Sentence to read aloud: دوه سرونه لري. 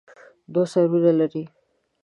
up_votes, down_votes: 2, 0